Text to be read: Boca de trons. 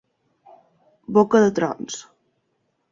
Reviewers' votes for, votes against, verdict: 3, 0, accepted